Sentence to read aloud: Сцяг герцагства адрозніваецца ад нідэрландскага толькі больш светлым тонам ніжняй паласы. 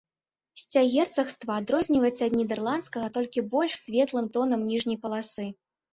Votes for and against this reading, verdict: 2, 1, accepted